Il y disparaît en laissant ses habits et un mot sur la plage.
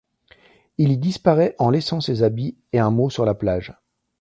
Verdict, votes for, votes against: accepted, 2, 0